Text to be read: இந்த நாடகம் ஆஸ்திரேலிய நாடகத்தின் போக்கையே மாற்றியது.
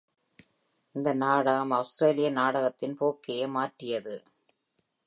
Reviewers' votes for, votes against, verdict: 3, 1, accepted